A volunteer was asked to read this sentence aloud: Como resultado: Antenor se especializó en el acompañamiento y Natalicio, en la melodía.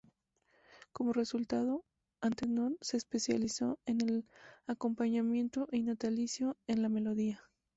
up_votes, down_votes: 0, 2